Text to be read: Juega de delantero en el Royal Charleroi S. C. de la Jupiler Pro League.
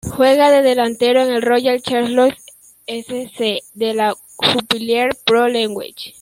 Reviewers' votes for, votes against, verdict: 0, 2, rejected